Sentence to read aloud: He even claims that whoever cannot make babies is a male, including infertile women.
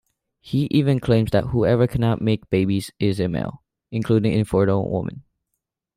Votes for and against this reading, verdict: 2, 1, accepted